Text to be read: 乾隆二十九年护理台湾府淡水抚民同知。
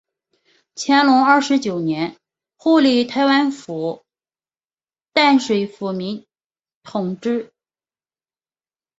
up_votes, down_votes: 2, 0